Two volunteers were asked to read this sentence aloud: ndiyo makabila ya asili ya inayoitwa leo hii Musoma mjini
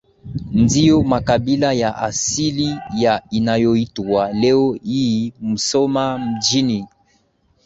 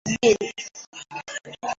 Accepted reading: first